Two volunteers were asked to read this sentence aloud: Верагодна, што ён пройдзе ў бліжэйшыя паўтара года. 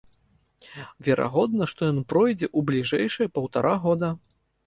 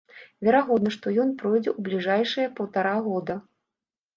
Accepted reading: first